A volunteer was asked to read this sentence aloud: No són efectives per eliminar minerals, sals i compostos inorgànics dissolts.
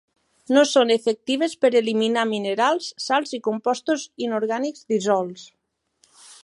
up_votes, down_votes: 3, 1